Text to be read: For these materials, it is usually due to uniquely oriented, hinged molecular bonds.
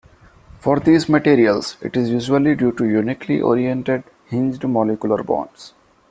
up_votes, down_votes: 2, 0